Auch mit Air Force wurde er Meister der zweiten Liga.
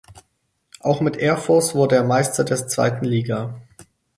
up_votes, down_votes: 0, 4